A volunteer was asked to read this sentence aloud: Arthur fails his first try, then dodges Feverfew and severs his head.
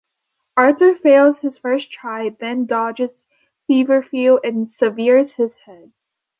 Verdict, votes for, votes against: rejected, 1, 2